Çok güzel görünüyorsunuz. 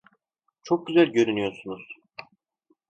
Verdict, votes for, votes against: accepted, 2, 0